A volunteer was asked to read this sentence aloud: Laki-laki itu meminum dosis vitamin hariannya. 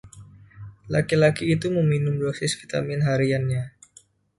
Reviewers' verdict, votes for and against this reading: rejected, 1, 2